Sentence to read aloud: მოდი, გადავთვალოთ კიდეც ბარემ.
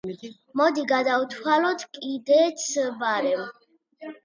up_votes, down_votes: 2, 0